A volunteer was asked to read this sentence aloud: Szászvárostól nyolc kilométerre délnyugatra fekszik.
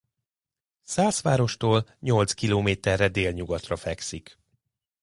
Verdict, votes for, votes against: accepted, 2, 0